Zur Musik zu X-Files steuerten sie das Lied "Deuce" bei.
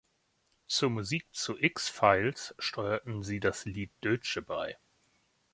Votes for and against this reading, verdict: 0, 3, rejected